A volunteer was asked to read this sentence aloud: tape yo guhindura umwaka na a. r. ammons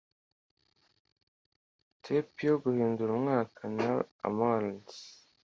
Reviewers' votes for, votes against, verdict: 2, 0, accepted